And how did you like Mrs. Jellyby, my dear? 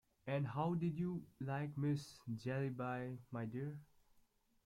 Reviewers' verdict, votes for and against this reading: rejected, 1, 2